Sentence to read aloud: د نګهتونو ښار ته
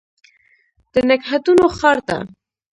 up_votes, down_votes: 0, 2